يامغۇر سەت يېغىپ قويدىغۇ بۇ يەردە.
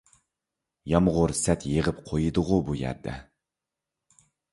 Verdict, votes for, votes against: accepted, 2, 0